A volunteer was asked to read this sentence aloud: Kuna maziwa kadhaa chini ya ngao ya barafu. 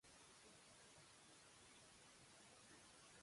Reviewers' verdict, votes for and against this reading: rejected, 0, 2